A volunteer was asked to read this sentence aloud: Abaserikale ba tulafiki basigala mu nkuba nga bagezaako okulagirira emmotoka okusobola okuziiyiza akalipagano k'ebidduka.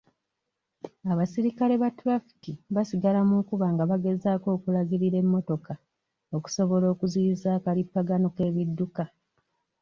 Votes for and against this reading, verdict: 2, 0, accepted